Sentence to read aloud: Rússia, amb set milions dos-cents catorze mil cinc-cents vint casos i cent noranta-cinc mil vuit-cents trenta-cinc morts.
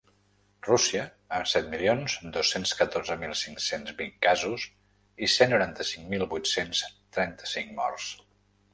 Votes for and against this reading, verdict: 3, 0, accepted